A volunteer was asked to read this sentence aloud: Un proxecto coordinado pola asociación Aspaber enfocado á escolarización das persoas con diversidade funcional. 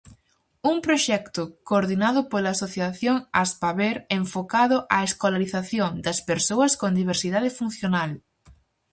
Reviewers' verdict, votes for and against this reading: accepted, 4, 0